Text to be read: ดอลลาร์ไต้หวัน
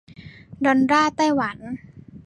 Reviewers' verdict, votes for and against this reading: rejected, 1, 2